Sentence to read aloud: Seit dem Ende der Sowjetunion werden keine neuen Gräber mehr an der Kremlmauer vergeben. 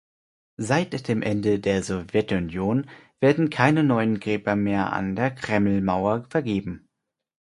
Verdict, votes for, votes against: rejected, 2, 4